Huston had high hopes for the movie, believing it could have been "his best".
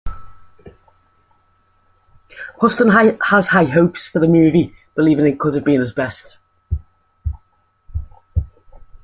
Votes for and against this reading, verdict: 0, 2, rejected